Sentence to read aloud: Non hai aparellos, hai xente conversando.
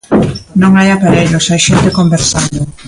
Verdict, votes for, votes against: rejected, 0, 2